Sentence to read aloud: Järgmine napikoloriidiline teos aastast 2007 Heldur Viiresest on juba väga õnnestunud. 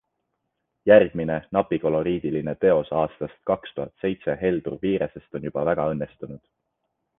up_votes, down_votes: 0, 2